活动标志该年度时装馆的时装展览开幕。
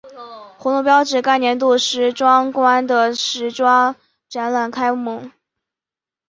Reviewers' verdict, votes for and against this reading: rejected, 2, 3